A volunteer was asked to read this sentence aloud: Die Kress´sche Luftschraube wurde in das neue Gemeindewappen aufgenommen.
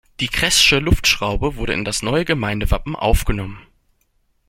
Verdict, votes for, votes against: accepted, 2, 0